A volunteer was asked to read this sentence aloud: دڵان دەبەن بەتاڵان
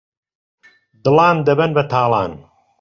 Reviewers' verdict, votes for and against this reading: accepted, 2, 0